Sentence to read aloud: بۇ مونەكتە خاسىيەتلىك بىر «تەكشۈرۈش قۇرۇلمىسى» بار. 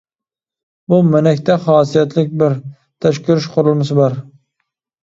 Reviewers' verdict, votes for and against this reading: rejected, 0, 2